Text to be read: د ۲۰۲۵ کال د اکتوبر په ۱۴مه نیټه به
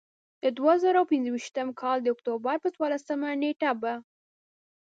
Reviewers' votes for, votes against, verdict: 0, 2, rejected